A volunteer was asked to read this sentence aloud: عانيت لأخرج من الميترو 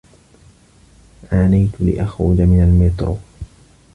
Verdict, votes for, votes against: accepted, 2, 0